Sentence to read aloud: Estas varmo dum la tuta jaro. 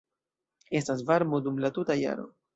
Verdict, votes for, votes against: accepted, 2, 0